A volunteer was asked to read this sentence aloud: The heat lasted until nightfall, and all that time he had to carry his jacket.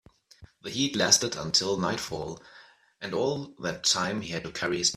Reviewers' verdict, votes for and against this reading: rejected, 0, 2